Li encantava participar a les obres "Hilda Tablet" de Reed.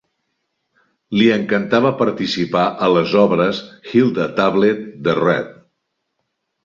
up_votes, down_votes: 1, 2